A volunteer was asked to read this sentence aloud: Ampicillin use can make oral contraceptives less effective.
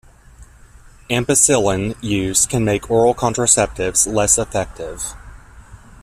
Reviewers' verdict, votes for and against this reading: rejected, 0, 2